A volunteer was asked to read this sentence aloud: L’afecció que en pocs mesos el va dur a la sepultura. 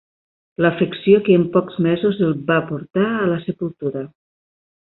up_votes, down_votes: 2, 3